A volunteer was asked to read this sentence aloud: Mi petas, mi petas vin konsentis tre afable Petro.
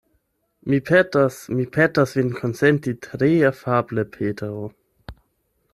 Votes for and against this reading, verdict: 0, 8, rejected